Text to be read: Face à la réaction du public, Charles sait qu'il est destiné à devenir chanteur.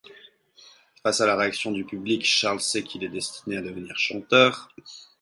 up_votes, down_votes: 4, 0